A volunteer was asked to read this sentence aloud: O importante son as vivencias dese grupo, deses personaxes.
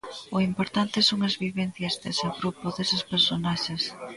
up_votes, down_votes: 1, 2